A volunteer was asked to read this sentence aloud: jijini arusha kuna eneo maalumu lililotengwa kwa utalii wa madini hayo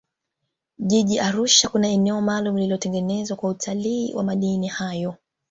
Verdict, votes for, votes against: rejected, 1, 2